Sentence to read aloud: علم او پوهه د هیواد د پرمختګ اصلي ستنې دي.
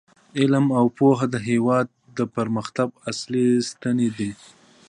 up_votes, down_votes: 1, 2